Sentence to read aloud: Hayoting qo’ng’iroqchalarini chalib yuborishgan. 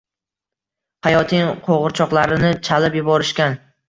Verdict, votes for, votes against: accepted, 2, 0